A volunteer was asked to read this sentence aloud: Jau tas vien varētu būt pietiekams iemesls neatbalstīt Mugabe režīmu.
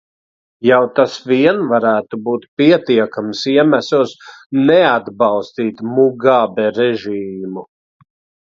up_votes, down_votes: 2, 0